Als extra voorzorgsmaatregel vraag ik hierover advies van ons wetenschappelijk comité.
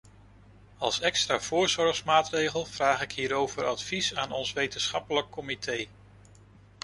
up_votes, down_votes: 0, 2